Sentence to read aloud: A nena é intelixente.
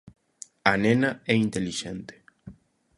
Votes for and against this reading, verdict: 2, 0, accepted